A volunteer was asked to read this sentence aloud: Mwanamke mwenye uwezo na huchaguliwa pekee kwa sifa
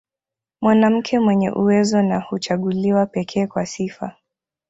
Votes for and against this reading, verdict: 2, 1, accepted